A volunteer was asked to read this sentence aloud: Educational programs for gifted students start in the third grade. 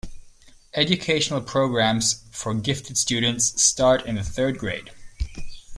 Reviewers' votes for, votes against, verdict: 2, 0, accepted